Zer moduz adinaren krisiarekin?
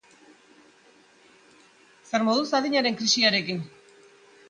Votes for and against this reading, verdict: 2, 0, accepted